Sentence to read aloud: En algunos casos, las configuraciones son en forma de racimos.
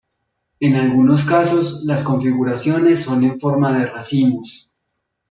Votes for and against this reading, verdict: 1, 2, rejected